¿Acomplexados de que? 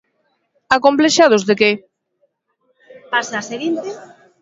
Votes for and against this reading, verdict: 0, 2, rejected